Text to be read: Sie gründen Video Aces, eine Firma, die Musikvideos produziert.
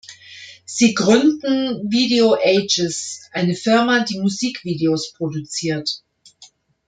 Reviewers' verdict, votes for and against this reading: rejected, 0, 2